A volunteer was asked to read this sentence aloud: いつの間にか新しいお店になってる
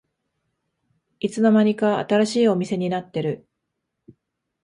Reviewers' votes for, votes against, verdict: 2, 0, accepted